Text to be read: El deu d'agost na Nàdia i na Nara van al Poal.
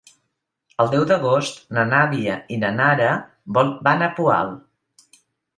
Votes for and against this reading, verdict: 1, 2, rejected